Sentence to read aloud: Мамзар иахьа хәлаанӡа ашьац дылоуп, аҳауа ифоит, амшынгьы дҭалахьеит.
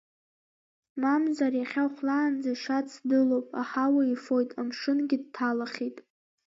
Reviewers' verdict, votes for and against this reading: accepted, 2, 0